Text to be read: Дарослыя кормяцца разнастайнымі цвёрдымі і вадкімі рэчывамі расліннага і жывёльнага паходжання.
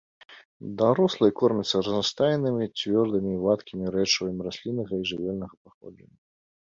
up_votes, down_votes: 2, 3